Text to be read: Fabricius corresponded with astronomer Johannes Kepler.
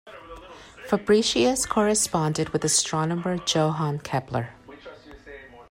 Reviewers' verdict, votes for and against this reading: accepted, 2, 0